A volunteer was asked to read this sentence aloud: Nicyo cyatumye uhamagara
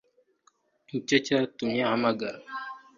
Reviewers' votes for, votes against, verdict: 3, 2, accepted